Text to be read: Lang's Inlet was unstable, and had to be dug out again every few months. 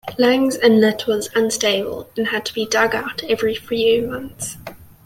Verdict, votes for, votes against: rejected, 1, 2